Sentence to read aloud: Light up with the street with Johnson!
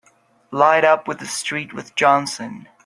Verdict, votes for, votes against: accepted, 5, 0